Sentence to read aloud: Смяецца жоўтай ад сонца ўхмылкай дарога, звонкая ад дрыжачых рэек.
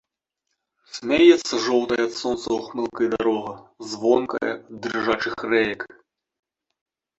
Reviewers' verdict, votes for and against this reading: rejected, 1, 2